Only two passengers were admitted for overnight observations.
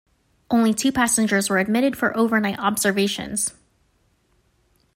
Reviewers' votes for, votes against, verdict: 2, 0, accepted